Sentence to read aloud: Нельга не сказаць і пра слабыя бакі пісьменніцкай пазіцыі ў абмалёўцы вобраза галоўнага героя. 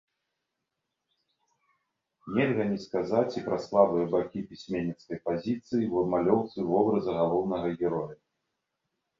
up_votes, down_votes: 2, 0